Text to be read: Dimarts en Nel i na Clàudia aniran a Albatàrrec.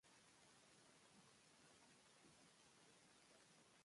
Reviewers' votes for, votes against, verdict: 1, 2, rejected